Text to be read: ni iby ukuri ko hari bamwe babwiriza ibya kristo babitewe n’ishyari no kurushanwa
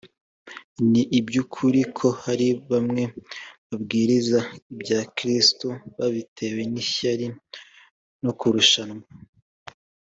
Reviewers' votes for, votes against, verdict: 2, 0, accepted